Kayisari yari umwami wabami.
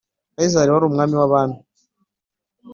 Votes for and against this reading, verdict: 2, 0, accepted